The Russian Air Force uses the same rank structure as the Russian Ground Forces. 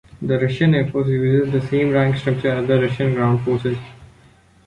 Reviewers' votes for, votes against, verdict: 1, 2, rejected